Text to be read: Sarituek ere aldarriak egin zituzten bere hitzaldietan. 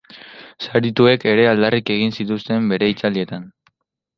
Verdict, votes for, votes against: rejected, 0, 2